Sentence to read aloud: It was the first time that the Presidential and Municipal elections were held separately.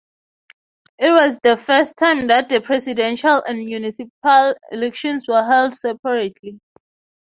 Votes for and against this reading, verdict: 3, 3, rejected